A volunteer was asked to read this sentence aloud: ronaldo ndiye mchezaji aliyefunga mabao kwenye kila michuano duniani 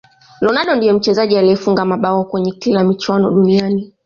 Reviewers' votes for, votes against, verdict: 1, 2, rejected